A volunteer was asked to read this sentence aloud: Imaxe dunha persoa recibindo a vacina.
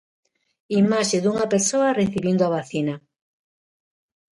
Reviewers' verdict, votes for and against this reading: accepted, 2, 0